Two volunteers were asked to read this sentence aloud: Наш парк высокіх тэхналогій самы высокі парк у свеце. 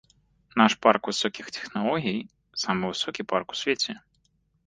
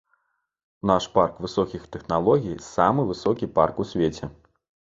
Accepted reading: second